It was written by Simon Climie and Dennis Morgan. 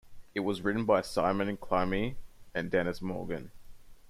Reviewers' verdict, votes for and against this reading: rejected, 1, 2